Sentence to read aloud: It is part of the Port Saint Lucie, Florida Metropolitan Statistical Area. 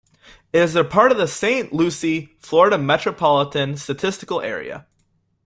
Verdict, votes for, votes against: rejected, 1, 2